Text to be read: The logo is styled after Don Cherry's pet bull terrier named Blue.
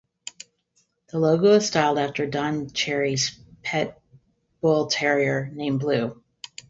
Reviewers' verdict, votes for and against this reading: rejected, 0, 2